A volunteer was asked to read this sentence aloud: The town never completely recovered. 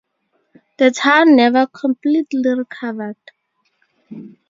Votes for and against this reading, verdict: 2, 0, accepted